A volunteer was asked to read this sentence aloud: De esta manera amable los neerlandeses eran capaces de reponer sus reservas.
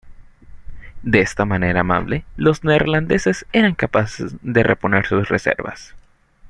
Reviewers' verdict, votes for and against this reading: accepted, 2, 0